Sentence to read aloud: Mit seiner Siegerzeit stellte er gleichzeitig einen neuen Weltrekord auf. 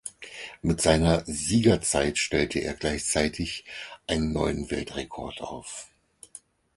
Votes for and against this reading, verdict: 4, 0, accepted